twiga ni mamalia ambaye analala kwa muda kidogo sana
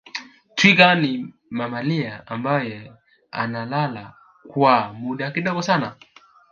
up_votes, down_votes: 1, 2